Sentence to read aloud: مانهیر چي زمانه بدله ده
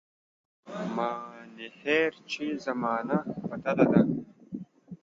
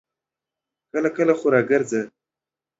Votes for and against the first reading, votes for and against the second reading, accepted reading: 2, 0, 0, 2, first